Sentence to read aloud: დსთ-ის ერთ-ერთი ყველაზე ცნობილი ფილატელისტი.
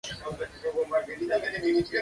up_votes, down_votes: 0, 2